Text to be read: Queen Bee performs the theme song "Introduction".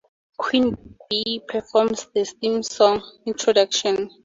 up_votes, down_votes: 2, 0